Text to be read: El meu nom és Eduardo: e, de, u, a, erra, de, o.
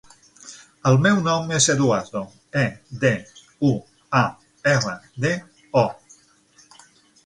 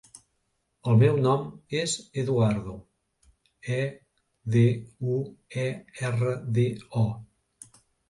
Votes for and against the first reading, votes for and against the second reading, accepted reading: 9, 0, 0, 2, first